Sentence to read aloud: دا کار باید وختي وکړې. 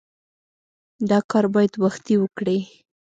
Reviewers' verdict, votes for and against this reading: accepted, 2, 0